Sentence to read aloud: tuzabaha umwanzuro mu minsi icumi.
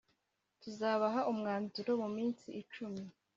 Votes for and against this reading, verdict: 2, 0, accepted